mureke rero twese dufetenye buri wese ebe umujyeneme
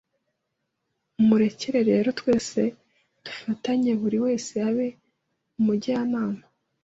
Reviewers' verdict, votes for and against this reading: rejected, 2, 3